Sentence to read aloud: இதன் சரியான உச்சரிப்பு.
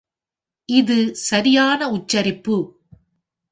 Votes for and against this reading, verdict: 2, 0, accepted